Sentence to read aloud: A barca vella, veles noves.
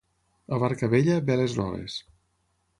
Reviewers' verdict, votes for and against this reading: accepted, 9, 0